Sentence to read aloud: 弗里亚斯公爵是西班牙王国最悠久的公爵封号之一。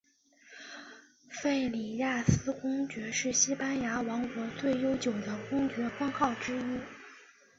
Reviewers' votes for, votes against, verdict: 2, 3, rejected